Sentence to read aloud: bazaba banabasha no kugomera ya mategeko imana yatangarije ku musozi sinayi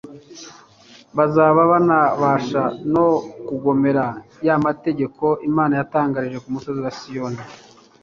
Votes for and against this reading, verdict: 1, 2, rejected